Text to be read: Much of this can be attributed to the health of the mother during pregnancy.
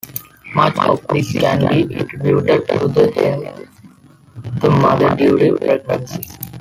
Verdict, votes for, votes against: rejected, 0, 2